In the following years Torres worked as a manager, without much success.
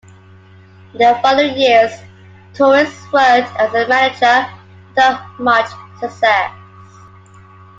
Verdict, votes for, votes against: accepted, 2, 1